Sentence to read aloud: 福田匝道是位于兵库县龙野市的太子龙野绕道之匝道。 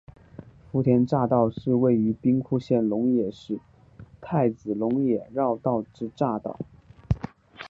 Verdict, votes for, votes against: accepted, 2, 0